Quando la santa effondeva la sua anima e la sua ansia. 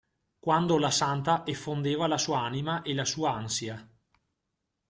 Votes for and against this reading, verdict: 2, 0, accepted